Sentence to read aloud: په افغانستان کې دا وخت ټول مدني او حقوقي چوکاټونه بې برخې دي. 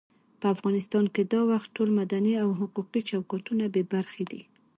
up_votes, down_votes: 1, 2